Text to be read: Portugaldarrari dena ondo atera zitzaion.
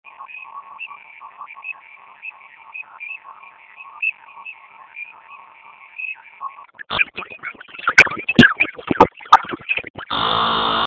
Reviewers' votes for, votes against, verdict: 0, 4, rejected